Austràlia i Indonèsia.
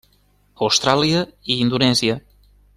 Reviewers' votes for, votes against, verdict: 3, 0, accepted